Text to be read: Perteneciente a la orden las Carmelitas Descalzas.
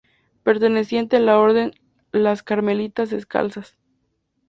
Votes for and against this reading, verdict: 2, 0, accepted